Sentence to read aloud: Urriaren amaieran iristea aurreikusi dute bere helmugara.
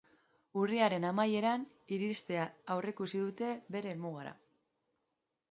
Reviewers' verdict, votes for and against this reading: accepted, 2, 0